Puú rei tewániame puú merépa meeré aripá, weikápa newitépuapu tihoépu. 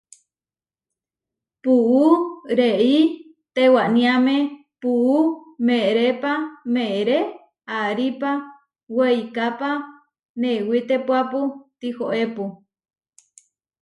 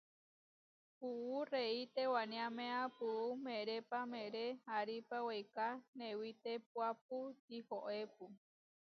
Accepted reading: first